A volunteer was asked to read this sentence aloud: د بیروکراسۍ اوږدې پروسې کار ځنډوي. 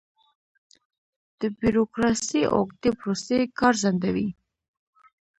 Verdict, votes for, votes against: rejected, 1, 2